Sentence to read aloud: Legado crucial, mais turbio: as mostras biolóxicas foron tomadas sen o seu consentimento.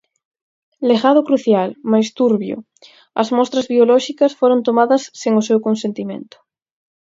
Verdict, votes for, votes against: accepted, 4, 0